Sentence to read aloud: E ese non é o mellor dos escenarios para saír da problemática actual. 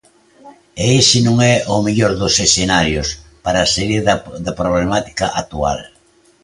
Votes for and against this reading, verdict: 0, 2, rejected